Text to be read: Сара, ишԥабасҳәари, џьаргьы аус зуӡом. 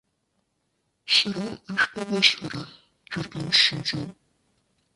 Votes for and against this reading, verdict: 1, 2, rejected